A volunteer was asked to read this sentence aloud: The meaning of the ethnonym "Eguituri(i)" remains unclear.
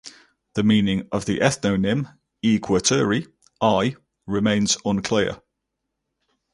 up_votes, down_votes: 0, 2